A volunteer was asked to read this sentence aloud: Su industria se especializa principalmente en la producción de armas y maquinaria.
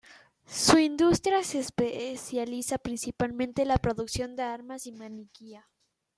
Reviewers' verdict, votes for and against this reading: rejected, 0, 2